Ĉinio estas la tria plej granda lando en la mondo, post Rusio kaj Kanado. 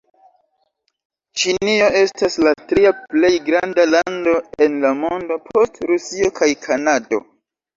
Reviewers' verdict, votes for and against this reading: rejected, 0, 2